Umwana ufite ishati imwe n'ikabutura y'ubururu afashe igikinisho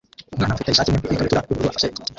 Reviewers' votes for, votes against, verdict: 0, 2, rejected